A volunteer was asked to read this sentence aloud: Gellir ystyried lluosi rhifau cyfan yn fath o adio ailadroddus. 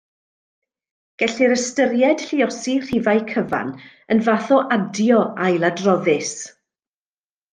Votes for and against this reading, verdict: 2, 0, accepted